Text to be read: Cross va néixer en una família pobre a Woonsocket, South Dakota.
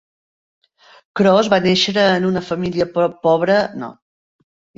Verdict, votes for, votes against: rejected, 1, 2